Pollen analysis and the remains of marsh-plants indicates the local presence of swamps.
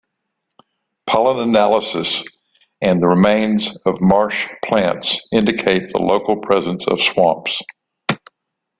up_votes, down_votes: 2, 0